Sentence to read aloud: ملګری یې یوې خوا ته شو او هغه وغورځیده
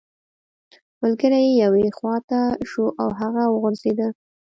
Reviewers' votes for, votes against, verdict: 3, 0, accepted